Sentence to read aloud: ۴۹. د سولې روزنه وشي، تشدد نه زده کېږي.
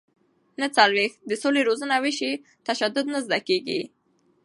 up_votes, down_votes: 0, 2